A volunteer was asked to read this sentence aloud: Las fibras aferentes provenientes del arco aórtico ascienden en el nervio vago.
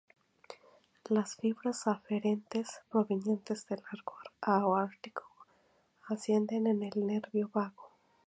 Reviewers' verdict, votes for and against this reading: rejected, 2, 4